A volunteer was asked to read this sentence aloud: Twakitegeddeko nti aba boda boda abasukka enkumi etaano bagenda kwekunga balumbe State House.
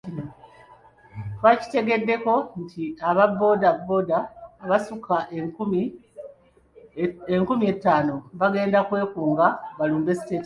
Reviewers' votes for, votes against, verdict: 0, 2, rejected